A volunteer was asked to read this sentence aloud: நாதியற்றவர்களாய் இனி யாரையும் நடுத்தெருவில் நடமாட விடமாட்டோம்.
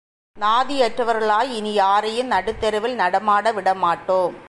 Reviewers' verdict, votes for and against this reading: accepted, 3, 0